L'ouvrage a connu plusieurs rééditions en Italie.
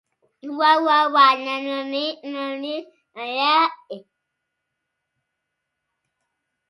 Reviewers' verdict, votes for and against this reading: rejected, 0, 2